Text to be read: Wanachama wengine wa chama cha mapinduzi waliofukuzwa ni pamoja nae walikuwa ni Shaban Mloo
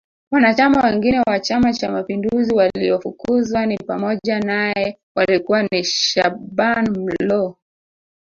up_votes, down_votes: 0, 2